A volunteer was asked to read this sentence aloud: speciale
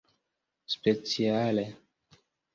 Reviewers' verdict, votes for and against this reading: accepted, 2, 0